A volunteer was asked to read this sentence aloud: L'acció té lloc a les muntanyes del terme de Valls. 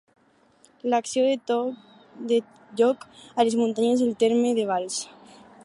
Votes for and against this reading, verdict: 0, 2, rejected